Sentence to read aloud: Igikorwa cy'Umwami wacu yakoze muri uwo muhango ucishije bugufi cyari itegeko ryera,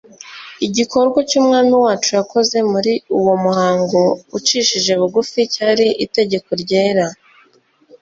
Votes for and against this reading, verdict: 2, 0, accepted